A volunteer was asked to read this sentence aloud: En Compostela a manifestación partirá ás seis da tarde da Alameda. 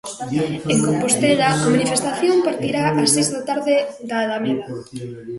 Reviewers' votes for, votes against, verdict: 1, 2, rejected